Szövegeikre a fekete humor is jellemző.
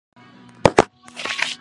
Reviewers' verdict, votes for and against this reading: rejected, 0, 2